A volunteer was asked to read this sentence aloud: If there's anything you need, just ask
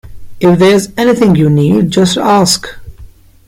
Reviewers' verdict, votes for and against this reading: accepted, 2, 0